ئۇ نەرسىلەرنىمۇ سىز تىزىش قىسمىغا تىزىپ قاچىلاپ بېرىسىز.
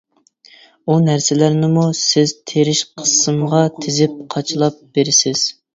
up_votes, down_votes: 0, 2